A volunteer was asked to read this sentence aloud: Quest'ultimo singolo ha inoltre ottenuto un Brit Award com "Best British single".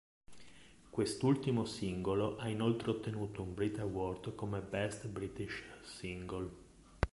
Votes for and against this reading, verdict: 1, 2, rejected